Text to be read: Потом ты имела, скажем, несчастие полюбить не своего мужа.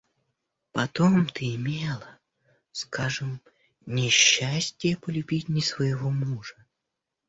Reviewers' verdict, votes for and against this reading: rejected, 1, 2